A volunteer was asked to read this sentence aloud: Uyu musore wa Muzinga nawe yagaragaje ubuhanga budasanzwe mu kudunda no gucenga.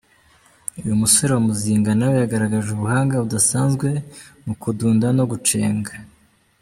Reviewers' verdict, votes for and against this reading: accepted, 2, 0